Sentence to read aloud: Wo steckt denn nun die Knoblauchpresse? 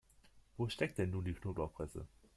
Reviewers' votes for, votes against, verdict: 2, 0, accepted